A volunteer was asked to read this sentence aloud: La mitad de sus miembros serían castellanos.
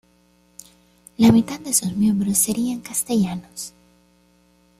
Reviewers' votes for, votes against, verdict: 2, 1, accepted